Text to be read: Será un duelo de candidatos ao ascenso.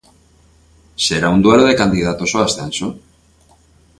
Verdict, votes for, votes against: accepted, 2, 0